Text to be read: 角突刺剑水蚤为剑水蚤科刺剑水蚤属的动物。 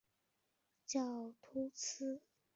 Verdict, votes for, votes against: rejected, 0, 3